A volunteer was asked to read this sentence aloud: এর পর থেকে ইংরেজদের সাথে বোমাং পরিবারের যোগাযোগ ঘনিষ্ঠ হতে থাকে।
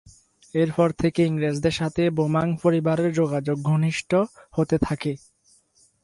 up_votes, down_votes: 2, 4